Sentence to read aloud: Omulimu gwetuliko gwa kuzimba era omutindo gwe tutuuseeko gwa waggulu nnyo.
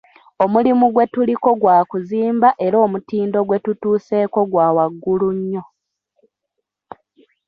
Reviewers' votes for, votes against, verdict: 2, 1, accepted